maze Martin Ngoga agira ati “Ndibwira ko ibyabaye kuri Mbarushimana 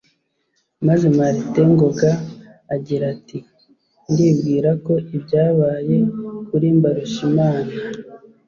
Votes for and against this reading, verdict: 2, 0, accepted